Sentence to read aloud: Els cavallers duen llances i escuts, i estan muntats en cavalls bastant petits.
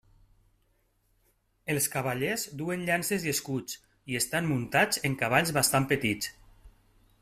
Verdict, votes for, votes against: accepted, 3, 0